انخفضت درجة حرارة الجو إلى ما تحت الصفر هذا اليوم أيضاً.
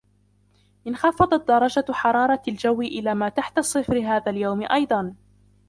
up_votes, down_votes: 0, 2